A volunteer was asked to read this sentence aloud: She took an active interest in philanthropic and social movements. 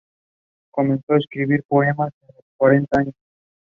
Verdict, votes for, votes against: rejected, 0, 2